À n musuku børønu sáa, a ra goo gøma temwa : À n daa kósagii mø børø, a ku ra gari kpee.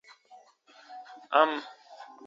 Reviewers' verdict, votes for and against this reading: rejected, 0, 2